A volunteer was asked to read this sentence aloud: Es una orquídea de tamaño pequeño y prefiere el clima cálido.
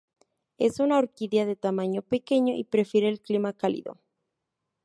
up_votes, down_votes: 2, 0